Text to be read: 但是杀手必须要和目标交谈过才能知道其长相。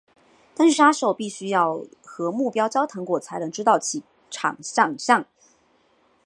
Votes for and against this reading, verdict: 4, 0, accepted